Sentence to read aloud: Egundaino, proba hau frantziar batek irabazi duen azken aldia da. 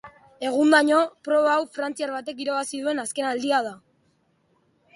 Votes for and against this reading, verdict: 2, 0, accepted